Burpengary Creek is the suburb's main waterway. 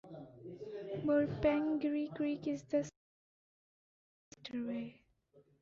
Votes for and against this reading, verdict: 0, 2, rejected